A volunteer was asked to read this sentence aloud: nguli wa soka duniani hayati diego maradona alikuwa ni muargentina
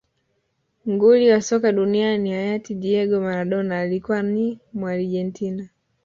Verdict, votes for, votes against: rejected, 1, 2